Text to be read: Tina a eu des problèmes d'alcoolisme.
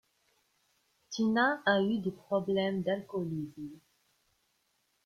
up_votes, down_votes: 2, 1